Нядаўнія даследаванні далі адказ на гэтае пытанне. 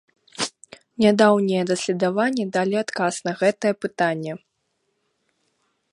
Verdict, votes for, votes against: rejected, 1, 3